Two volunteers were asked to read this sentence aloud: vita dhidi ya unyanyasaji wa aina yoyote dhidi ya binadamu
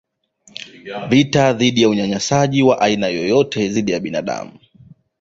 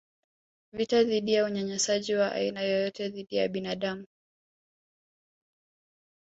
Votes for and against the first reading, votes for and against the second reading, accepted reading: 1, 2, 2, 0, second